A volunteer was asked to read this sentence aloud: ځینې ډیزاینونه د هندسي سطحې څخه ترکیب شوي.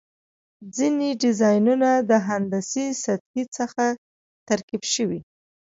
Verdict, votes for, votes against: accepted, 3, 0